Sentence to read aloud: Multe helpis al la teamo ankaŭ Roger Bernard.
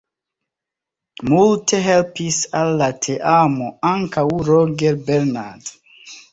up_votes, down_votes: 2, 0